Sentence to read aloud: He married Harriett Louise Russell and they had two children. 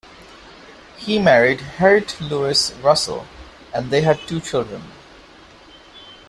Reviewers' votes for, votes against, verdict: 2, 0, accepted